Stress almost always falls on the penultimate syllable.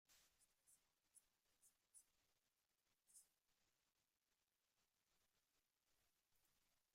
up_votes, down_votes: 0, 2